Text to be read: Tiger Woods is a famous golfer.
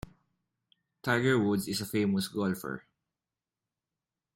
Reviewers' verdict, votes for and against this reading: accepted, 2, 0